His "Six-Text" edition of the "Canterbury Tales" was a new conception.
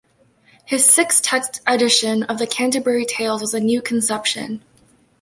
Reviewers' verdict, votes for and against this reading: accepted, 2, 1